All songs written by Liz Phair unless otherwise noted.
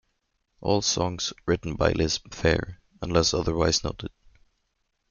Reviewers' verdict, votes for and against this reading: accepted, 2, 0